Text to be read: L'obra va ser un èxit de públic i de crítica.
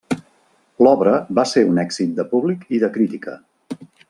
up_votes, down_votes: 3, 0